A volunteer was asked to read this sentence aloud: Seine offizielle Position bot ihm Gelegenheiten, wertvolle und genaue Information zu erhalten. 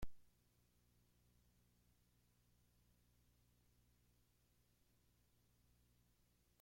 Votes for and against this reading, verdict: 0, 2, rejected